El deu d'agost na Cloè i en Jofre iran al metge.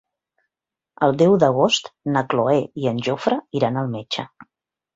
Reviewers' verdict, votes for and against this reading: accepted, 3, 0